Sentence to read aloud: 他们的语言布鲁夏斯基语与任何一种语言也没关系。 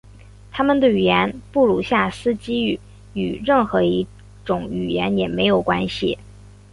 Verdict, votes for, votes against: accepted, 2, 1